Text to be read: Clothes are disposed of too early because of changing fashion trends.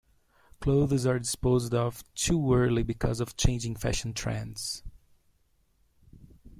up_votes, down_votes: 1, 2